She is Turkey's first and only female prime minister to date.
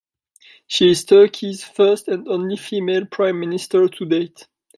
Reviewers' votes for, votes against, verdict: 2, 0, accepted